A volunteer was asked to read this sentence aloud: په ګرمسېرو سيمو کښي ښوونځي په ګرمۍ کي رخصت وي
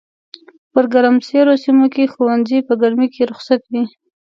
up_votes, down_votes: 2, 0